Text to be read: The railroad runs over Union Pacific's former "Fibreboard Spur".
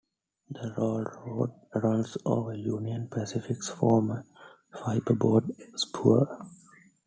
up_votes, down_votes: 2, 0